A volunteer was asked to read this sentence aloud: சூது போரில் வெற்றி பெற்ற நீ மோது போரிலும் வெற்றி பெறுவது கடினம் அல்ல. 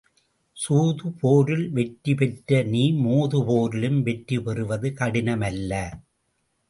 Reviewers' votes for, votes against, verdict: 2, 0, accepted